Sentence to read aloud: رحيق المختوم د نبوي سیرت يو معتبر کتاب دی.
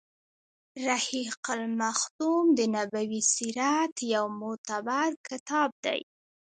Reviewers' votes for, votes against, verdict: 1, 2, rejected